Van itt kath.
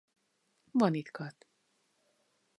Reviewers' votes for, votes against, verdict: 0, 2, rejected